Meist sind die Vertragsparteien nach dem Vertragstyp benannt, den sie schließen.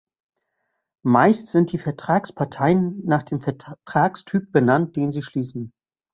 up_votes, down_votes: 1, 2